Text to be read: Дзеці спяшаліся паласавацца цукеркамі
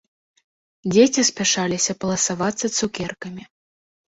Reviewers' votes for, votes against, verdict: 0, 2, rejected